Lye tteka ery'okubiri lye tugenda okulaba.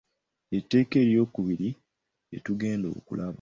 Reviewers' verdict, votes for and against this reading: rejected, 0, 2